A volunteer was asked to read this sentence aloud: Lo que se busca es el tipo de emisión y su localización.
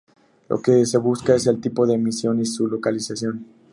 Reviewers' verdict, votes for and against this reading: accepted, 2, 0